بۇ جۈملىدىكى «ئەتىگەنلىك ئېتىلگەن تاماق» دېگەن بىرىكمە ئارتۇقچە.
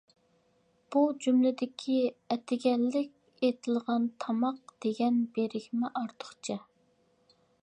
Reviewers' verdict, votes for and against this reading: rejected, 0, 2